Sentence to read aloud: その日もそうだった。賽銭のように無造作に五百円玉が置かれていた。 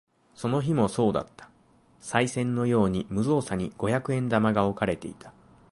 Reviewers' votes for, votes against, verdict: 2, 0, accepted